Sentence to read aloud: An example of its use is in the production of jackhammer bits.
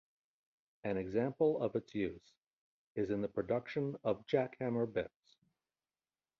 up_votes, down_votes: 1, 2